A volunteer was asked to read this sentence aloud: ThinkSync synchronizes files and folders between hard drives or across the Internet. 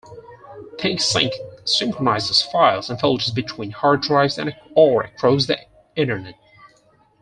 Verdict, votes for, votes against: rejected, 0, 4